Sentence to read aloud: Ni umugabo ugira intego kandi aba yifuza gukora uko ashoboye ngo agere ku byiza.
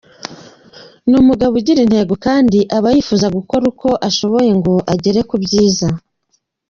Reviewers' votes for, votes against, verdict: 3, 0, accepted